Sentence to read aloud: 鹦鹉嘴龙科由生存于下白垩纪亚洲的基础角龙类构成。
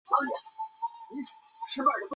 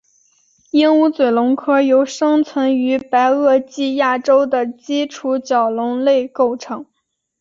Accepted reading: second